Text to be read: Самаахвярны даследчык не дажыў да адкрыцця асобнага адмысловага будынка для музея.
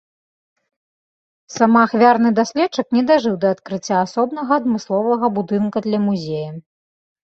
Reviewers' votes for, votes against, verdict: 2, 0, accepted